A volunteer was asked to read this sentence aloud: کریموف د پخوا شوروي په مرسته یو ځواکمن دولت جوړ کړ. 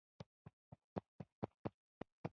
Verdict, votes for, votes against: rejected, 0, 2